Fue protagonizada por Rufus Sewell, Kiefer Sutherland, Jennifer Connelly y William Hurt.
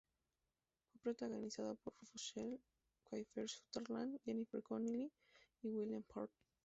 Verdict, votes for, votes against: rejected, 0, 2